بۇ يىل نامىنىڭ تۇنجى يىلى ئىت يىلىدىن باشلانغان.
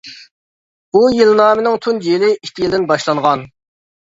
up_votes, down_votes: 2, 0